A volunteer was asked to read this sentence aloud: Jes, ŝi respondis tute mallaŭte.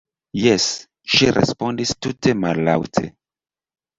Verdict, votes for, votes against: accepted, 2, 0